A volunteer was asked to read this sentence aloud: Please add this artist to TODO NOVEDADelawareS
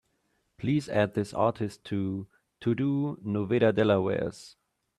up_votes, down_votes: 0, 2